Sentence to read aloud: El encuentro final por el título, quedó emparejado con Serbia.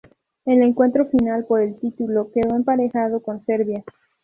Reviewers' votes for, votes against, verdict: 0, 2, rejected